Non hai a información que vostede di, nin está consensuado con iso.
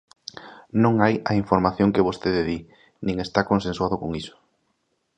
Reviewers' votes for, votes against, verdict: 2, 0, accepted